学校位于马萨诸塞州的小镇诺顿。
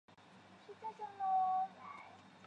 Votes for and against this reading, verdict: 0, 3, rejected